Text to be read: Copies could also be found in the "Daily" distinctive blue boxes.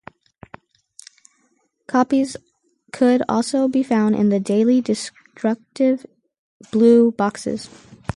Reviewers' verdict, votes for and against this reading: rejected, 0, 4